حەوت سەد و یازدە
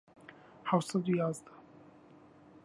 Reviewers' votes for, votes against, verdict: 2, 1, accepted